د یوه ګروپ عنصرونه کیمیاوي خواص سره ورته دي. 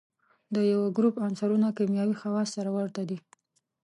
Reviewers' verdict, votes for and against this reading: accepted, 2, 0